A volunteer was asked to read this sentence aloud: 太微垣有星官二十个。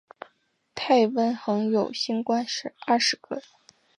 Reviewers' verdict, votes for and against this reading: accepted, 4, 0